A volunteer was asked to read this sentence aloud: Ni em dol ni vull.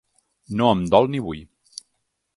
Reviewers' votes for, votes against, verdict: 2, 3, rejected